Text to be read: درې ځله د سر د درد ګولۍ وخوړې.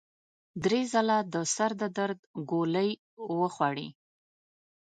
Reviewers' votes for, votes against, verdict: 2, 0, accepted